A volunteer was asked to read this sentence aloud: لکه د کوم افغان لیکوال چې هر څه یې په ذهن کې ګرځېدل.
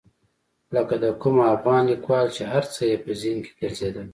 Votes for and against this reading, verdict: 0, 2, rejected